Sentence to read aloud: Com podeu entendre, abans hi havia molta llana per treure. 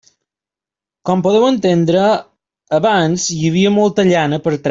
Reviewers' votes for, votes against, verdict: 2, 0, accepted